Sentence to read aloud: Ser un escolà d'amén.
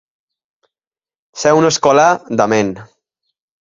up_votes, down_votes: 2, 0